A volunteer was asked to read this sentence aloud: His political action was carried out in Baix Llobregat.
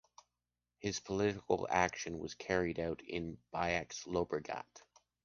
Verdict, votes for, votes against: accepted, 2, 0